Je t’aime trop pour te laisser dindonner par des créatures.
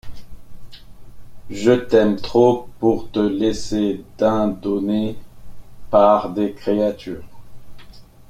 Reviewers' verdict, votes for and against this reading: rejected, 1, 2